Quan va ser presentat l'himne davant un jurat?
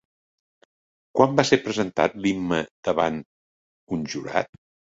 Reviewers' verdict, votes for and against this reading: rejected, 0, 2